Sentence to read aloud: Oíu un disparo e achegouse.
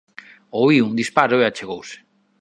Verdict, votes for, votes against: accepted, 3, 0